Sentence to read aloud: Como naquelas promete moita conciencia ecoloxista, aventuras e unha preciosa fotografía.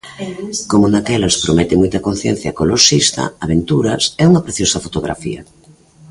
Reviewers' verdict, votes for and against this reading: rejected, 0, 2